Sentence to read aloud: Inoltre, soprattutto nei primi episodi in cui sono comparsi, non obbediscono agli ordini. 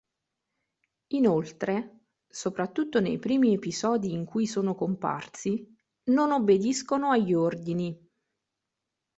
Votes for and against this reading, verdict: 2, 0, accepted